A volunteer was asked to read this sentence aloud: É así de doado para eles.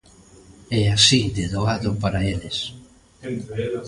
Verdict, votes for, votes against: rejected, 0, 2